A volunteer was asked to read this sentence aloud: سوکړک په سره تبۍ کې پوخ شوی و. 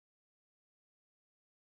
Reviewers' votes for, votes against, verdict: 3, 1, accepted